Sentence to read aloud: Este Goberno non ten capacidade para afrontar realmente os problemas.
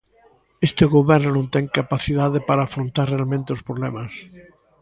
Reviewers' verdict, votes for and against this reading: rejected, 1, 2